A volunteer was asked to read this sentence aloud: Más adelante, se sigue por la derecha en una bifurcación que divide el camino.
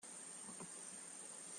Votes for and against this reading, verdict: 0, 2, rejected